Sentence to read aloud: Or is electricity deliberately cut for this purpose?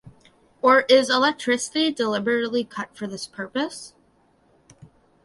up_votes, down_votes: 2, 1